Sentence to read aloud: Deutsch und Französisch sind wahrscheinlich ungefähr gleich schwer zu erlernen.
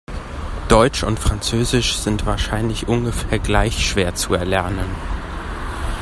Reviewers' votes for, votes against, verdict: 2, 0, accepted